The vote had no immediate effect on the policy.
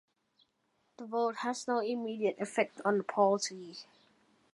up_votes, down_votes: 0, 2